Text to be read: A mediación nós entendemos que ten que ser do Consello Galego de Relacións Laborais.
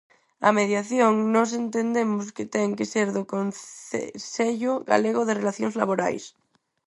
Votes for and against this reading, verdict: 0, 4, rejected